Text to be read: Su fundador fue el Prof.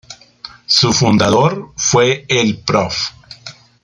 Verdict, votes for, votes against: rejected, 1, 2